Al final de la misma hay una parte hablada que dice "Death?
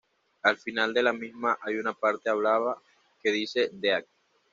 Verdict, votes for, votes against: rejected, 1, 2